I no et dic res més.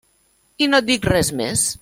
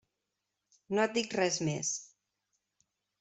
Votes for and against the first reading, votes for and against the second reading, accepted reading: 3, 0, 0, 2, first